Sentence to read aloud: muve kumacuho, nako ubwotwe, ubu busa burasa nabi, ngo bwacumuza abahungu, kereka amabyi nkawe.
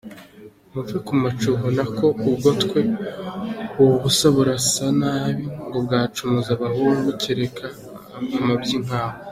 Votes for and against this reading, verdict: 2, 1, accepted